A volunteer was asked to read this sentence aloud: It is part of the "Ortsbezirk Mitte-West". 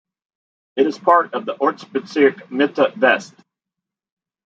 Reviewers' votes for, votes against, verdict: 1, 2, rejected